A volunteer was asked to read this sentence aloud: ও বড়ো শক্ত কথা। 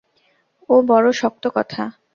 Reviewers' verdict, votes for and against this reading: accepted, 2, 0